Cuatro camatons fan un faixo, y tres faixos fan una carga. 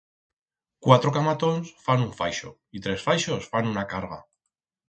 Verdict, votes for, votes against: accepted, 4, 0